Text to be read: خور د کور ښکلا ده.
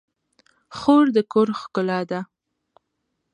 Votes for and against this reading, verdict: 2, 0, accepted